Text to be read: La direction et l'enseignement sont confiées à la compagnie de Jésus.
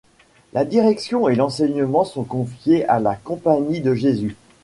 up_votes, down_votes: 2, 1